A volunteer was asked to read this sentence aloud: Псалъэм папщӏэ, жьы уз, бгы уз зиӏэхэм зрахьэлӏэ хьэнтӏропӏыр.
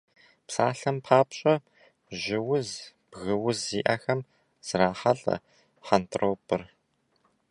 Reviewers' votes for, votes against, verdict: 2, 0, accepted